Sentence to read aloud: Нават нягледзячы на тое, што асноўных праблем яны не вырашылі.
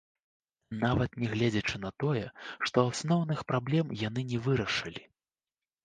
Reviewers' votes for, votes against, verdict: 2, 0, accepted